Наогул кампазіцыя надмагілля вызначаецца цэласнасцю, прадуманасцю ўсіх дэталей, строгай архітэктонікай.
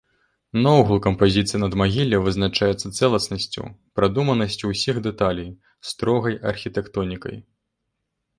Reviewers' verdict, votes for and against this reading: accepted, 2, 0